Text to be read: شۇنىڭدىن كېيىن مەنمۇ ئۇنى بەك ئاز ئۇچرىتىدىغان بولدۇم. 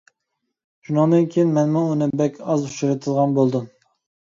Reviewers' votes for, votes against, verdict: 2, 1, accepted